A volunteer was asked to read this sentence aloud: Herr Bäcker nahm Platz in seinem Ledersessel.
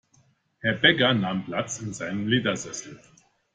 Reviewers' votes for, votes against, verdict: 2, 0, accepted